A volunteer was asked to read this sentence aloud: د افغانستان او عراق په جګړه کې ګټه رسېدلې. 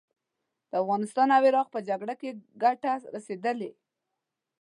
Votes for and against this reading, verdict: 2, 0, accepted